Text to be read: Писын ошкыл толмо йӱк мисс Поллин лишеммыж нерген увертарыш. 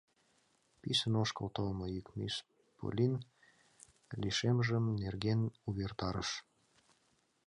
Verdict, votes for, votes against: rejected, 1, 2